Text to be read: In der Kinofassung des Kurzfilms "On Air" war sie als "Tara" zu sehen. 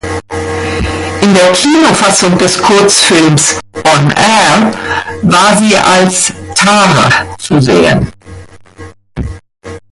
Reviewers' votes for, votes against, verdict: 1, 2, rejected